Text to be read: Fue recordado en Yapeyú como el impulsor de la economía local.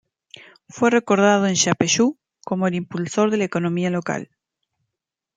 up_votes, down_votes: 2, 0